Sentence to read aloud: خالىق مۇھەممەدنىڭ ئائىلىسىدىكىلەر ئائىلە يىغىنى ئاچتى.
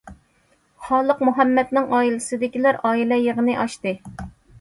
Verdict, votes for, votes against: accepted, 2, 0